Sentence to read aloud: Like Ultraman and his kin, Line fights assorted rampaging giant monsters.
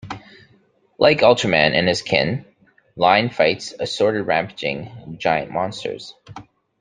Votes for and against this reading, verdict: 2, 0, accepted